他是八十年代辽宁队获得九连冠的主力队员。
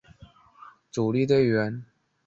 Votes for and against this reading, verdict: 2, 4, rejected